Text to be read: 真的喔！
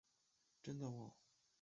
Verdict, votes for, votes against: rejected, 0, 6